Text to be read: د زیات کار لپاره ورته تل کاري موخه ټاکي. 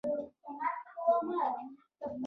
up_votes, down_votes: 2, 1